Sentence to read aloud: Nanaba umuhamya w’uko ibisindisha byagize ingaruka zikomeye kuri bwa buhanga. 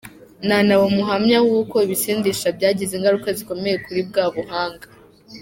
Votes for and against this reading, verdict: 2, 0, accepted